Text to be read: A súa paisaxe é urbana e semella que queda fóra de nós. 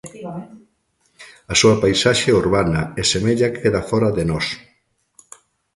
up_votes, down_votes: 2, 1